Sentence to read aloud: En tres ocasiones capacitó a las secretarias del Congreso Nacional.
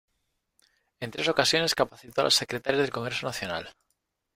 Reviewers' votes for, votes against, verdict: 1, 2, rejected